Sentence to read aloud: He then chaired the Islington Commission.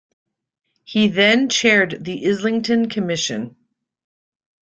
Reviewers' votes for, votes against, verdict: 1, 2, rejected